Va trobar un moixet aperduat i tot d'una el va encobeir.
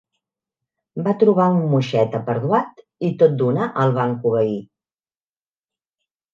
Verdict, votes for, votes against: accepted, 5, 0